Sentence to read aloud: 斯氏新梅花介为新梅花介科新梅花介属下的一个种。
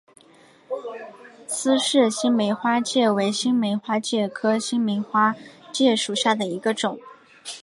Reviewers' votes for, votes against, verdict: 4, 0, accepted